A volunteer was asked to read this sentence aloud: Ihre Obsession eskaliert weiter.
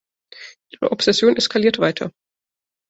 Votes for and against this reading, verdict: 1, 2, rejected